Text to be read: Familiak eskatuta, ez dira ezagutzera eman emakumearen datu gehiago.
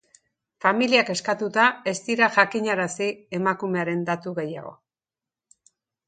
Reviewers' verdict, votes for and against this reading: rejected, 0, 2